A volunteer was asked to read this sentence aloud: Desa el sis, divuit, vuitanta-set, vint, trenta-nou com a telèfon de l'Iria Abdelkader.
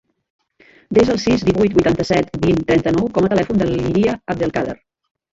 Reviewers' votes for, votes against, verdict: 0, 2, rejected